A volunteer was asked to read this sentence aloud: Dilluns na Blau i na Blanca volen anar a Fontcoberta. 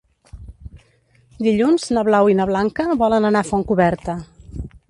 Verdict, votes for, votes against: rejected, 1, 2